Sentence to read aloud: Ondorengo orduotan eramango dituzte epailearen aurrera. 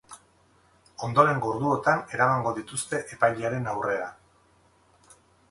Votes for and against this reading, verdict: 2, 2, rejected